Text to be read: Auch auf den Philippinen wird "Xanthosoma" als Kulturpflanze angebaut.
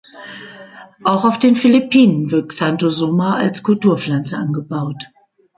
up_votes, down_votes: 2, 0